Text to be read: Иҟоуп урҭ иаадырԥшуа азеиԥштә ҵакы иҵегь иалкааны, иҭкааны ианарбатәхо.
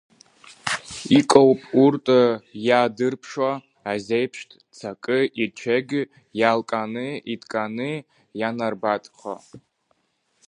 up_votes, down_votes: 0, 2